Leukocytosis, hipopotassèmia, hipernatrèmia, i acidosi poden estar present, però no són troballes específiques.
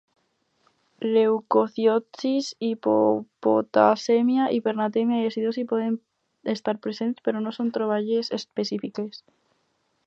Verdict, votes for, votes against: rejected, 2, 2